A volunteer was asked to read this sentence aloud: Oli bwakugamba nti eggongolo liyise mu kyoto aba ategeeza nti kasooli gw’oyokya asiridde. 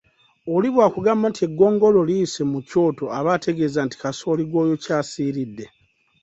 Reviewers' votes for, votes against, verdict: 2, 0, accepted